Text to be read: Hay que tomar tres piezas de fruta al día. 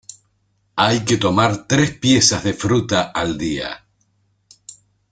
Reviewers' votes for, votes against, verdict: 2, 0, accepted